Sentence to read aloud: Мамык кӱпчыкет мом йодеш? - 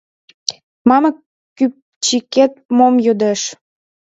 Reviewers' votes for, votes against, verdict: 2, 1, accepted